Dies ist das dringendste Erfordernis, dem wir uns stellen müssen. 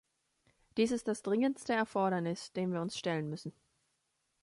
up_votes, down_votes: 2, 0